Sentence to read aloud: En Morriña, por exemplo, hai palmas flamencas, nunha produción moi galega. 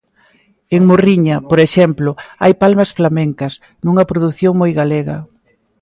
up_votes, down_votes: 2, 0